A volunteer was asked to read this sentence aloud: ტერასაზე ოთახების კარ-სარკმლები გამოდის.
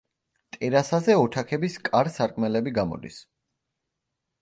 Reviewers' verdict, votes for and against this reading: rejected, 1, 2